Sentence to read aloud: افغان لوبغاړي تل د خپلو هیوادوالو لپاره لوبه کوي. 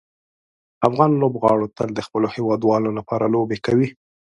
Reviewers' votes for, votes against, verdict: 1, 2, rejected